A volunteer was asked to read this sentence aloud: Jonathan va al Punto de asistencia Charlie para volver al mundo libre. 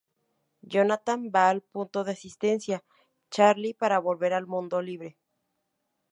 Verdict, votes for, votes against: accepted, 2, 0